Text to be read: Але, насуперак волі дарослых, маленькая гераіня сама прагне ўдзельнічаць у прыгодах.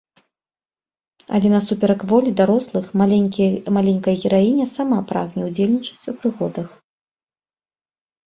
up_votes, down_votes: 0, 2